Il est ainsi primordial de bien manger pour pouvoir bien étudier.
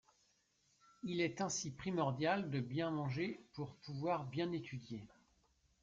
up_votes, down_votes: 2, 1